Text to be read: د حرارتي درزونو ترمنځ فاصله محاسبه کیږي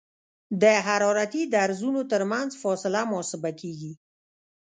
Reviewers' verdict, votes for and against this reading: rejected, 0, 2